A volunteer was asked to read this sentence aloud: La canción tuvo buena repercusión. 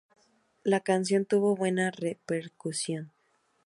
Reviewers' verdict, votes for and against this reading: accepted, 4, 0